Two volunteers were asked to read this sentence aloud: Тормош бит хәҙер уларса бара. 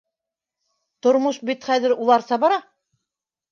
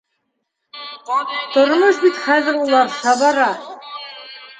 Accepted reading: first